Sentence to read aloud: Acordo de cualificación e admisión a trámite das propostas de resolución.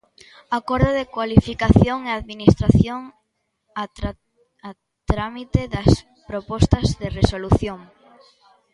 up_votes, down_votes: 0, 2